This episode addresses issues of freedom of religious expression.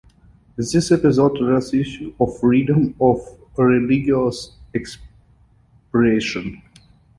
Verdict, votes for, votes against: rejected, 0, 2